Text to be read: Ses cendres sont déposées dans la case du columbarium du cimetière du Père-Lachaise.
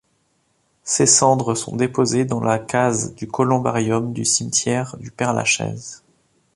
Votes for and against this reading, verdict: 2, 0, accepted